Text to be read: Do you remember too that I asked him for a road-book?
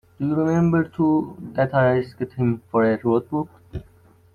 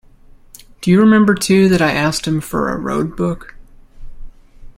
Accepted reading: second